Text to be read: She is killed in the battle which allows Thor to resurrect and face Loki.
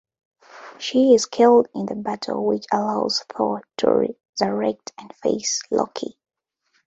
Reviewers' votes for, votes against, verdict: 1, 2, rejected